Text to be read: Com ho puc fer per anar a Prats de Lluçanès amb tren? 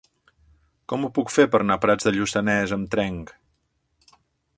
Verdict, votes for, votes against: rejected, 1, 2